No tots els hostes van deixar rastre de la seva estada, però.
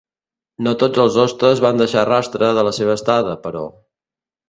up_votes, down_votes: 2, 0